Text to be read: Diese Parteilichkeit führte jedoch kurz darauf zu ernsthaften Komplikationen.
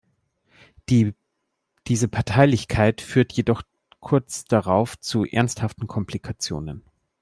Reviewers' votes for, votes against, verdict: 0, 2, rejected